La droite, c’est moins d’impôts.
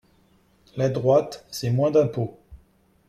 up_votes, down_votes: 2, 0